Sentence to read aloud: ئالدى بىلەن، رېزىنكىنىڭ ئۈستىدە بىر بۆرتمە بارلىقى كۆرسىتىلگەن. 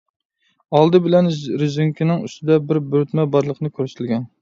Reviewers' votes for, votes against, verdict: 0, 2, rejected